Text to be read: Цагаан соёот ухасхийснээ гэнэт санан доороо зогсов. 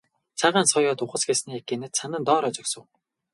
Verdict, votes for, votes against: rejected, 2, 2